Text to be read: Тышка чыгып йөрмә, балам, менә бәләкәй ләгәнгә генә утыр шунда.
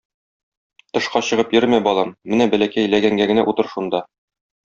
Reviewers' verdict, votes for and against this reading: accepted, 2, 0